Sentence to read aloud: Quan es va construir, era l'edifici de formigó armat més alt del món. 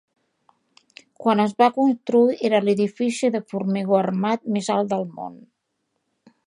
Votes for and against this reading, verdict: 2, 0, accepted